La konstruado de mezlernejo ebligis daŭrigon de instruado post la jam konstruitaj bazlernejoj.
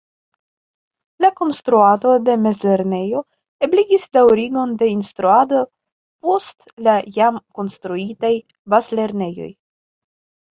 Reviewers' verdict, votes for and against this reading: accepted, 2, 1